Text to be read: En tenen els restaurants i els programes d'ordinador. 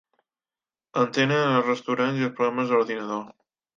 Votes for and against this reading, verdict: 0, 2, rejected